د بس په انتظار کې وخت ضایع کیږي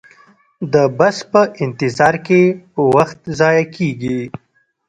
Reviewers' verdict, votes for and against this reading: rejected, 1, 2